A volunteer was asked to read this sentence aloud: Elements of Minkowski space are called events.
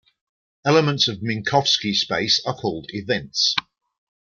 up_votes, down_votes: 2, 0